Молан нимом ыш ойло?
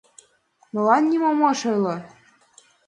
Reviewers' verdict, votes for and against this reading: accepted, 2, 0